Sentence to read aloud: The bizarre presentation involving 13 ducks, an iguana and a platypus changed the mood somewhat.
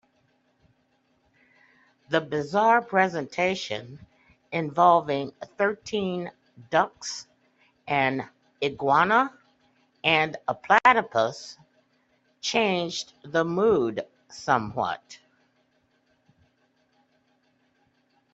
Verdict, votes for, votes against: rejected, 0, 2